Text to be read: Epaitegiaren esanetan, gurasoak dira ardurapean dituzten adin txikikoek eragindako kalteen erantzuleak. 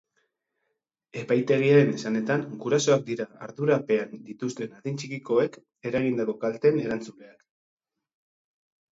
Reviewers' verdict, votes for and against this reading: rejected, 0, 2